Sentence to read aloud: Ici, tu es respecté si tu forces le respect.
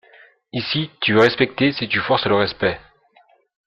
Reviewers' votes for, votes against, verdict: 2, 1, accepted